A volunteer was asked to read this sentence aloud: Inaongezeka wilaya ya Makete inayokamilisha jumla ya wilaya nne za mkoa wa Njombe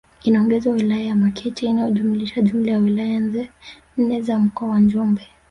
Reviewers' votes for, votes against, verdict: 2, 4, rejected